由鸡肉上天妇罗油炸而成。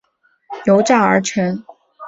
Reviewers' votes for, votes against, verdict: 0, 3, rejected